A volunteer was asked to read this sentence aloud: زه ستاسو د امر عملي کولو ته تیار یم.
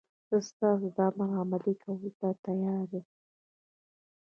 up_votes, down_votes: 1, 2